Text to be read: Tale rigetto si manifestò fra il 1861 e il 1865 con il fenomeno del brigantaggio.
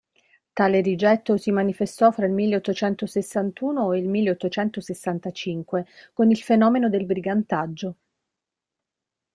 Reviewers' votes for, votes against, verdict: 0, 2, rejected